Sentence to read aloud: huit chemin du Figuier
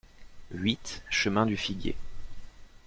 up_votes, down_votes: 2, 0